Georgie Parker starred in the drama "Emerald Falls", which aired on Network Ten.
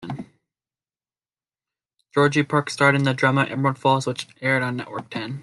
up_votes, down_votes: 1, 2